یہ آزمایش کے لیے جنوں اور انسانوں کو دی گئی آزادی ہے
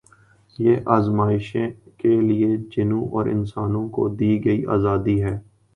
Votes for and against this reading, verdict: 1, 2, rejected